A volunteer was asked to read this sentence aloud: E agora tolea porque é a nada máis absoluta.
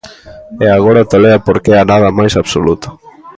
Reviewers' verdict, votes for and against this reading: rejected, 0, 2